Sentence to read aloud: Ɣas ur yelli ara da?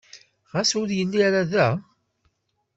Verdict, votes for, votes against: accepted, 2, 0